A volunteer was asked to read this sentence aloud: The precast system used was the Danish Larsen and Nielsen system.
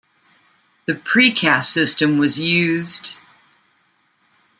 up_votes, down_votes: 0, 2